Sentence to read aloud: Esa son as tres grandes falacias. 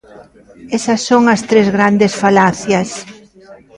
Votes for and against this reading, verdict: 2, 1, accepted